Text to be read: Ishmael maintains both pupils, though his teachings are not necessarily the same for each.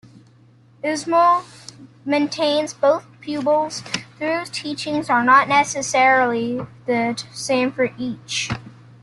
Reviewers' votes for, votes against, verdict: 0, 2, rejected